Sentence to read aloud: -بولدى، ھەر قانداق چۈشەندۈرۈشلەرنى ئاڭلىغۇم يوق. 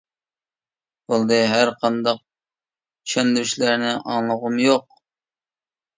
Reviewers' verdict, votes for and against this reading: accepted, 2, 0